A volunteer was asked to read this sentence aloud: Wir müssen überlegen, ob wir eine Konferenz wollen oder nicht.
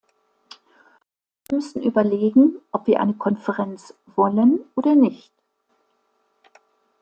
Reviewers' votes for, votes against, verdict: 1, 2, rejected